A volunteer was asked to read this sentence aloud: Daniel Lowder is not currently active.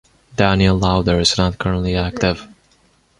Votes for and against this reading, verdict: 1, 2, rejected